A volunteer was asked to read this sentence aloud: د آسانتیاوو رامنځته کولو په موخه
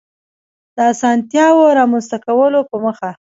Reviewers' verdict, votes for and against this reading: rejected, 1, 2